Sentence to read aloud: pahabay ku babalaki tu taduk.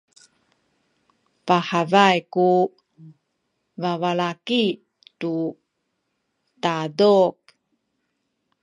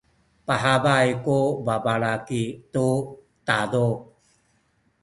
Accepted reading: first